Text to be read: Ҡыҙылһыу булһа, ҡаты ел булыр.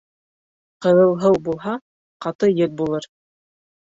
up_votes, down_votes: 2, 1